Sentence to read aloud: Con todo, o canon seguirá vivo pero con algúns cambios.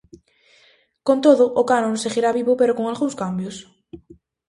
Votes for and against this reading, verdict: 2, 0, accepted